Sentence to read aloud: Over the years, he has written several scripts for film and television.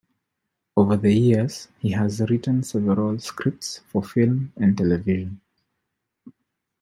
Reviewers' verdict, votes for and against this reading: accepted, 2, 1